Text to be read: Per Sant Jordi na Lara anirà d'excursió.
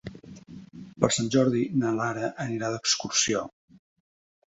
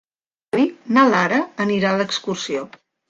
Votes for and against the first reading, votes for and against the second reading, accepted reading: 4, 0, 0, 2, first